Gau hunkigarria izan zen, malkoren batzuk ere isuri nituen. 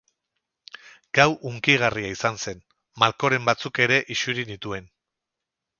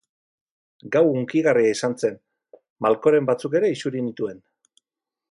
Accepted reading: second